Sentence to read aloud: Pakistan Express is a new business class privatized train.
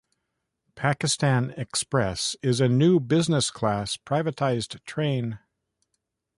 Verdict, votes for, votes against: accepted, 2, 0